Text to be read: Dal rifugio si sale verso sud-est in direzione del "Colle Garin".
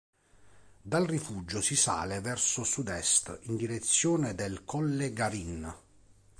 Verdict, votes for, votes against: accepted, 2, 0